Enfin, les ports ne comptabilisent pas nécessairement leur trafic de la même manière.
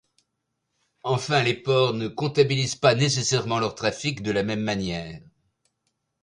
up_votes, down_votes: 2, 0